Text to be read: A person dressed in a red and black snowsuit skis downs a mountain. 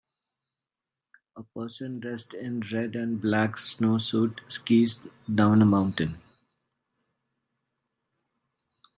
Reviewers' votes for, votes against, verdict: 0, 2, rejected